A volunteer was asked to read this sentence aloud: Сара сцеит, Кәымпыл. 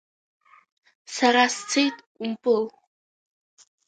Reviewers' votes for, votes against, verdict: 2, 0, accepted